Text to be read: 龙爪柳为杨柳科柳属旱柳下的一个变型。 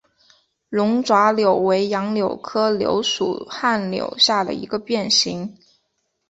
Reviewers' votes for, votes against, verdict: 2, 0, accepted